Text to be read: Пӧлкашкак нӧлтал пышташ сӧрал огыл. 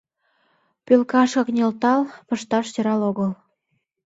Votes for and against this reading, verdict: 2, 3, rejected